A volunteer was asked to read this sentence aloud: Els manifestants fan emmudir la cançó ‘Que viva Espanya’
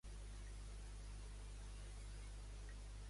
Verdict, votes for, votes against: rejected, 0, 2